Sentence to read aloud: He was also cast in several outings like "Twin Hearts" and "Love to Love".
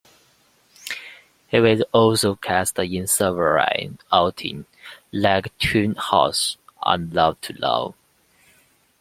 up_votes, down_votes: 0, 2